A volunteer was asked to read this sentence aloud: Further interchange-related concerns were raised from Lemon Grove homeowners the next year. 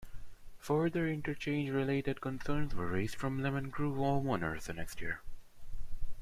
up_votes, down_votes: 1, 2